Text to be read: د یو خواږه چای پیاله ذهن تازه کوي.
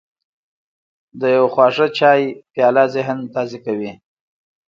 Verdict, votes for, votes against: accepted, 2, 0